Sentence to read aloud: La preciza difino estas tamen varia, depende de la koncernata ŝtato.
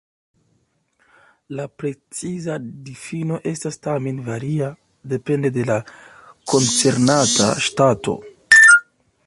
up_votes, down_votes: 2, 0